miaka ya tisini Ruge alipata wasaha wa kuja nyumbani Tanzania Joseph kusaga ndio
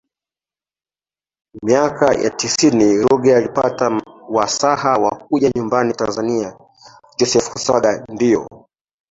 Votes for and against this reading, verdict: 0, 2, rejected